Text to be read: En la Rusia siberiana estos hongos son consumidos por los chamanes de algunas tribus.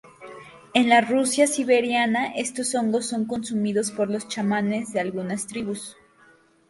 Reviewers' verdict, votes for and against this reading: accepted, 2, 0